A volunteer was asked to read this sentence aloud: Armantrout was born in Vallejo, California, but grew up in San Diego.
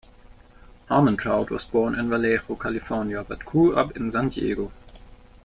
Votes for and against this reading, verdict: 2, 0, accepted